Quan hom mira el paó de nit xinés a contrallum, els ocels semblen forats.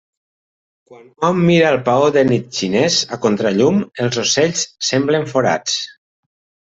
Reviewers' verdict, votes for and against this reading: rejected, 1, 2